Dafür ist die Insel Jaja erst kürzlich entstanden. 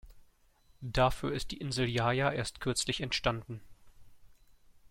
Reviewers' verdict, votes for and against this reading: accepted, 2, 0